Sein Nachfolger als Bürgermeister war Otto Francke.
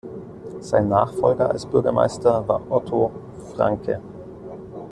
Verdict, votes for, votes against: accepted, 2, 0